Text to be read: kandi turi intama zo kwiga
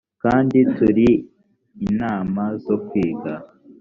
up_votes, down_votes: 1, 2